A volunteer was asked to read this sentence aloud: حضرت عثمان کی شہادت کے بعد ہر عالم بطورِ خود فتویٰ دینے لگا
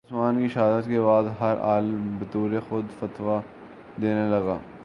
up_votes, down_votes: 4, 2